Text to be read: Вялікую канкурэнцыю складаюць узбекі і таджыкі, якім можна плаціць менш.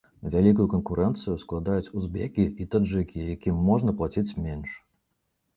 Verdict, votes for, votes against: accepted, 2, 0